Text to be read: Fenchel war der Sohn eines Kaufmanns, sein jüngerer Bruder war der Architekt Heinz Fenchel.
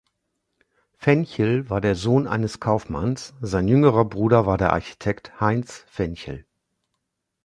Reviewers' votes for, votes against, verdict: 2, 0, accepted